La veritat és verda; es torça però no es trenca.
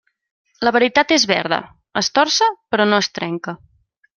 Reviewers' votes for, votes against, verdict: 3, 0, accepted